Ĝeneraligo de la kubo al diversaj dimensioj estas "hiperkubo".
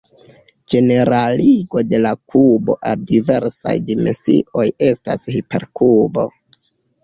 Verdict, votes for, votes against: rejected, 1, 2